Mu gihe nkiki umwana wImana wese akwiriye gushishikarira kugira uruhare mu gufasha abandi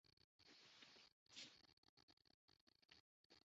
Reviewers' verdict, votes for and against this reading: rejected, 0, 2